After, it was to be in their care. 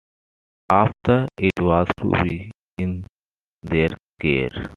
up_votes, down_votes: 2, 0